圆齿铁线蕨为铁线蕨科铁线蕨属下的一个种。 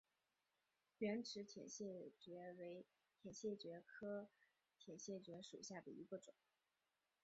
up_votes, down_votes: 2, 0